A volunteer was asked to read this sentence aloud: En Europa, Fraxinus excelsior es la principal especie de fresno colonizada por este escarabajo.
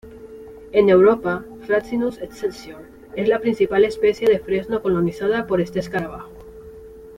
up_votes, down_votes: 2, 0